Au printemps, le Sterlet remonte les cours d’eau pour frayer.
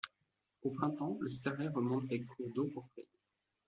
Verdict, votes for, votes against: rejected, 1, 2